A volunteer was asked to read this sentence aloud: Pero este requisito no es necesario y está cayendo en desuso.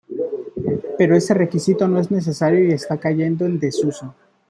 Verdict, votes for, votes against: rejected, 2, 3